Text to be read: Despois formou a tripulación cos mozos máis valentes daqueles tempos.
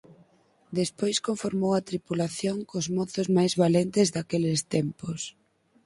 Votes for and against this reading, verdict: 0, 4, rejected